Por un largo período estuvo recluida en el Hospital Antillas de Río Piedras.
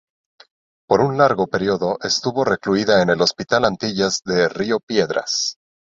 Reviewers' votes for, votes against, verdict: 2, 0, accepted